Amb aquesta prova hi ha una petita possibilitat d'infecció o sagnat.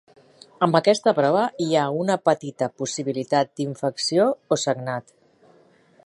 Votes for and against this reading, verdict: 3, 0, accepted